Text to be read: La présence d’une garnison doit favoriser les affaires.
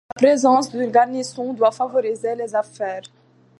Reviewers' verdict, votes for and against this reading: rejected, 1, 2